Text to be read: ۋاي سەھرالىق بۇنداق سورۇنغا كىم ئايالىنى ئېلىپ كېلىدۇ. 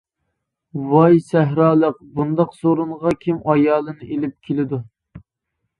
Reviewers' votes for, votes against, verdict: 2, 0, accepted